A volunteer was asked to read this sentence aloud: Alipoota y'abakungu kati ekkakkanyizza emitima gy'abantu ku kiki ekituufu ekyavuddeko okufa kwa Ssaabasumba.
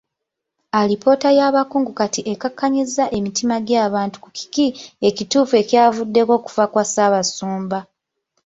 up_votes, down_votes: 1, 2